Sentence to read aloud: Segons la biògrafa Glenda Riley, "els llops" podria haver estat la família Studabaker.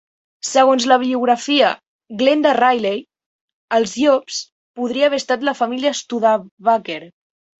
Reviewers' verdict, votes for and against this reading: rejected, 0, 2